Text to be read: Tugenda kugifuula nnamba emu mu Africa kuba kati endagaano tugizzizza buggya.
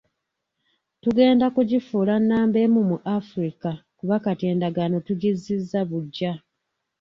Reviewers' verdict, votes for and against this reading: accepted, 2, 0